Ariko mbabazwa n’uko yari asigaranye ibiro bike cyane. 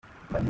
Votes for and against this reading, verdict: 0, 2, rejected